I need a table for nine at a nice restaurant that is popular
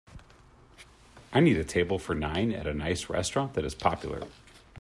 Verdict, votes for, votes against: accepted, 2, 0